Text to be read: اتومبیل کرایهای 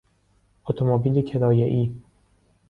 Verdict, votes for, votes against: accepted, 2, 0